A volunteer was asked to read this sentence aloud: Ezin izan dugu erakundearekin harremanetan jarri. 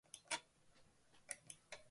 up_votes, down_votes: 0, 3